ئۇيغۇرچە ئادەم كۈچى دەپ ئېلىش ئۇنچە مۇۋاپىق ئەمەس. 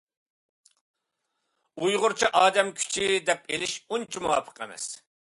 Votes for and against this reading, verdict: 2, 0, accepted